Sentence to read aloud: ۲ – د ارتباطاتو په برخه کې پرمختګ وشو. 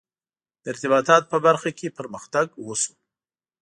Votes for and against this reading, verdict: 0, 2, rejected